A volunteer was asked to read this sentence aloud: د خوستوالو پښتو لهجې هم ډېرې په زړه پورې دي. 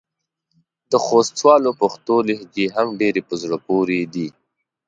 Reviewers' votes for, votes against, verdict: 3, 0, accepted